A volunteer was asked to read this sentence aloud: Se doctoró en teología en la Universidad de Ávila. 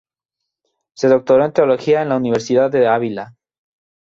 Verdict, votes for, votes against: rejected, 0, 2